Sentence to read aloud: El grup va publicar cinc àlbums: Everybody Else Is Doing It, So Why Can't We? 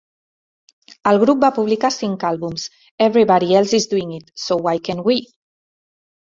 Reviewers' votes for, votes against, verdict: 2, 0, accepted